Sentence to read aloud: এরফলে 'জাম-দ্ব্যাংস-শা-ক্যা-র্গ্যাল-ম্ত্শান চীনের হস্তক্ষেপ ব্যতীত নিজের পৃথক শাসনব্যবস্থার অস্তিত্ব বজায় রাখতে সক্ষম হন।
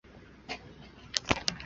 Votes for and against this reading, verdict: 0, 3, rejected